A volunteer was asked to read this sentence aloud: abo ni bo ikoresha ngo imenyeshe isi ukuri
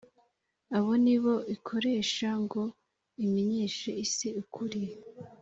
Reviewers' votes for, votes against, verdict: 4, 1, accepted